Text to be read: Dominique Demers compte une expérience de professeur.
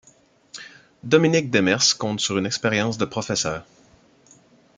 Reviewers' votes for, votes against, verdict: 1, 2, rejected